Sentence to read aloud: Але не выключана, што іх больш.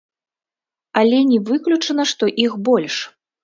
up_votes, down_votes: 0, 2